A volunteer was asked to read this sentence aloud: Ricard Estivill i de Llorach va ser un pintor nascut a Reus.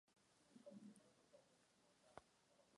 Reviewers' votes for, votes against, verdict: 0, 2, rejected